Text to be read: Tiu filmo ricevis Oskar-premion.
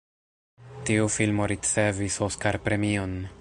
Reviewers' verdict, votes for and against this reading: rejected, 1, 2